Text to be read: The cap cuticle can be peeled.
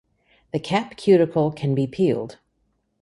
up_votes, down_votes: 3, 0